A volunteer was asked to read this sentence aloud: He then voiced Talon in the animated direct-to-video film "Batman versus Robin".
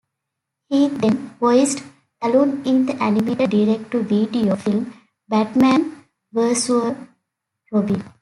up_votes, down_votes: 2, 0